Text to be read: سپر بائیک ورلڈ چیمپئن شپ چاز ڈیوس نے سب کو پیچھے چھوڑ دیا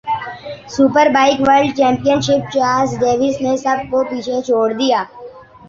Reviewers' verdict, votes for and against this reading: rejected, 0, 2